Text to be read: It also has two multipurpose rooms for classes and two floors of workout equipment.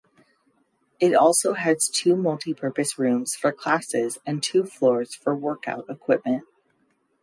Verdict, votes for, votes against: rejected, 0, 2